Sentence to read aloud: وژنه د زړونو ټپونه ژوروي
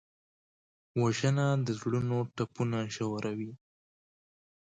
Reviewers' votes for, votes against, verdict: 2, 0, accepted